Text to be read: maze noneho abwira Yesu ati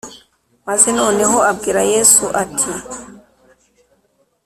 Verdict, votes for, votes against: accepted, 2, 0